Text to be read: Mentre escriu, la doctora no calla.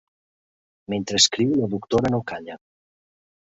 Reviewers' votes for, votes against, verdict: 3, 0, accepted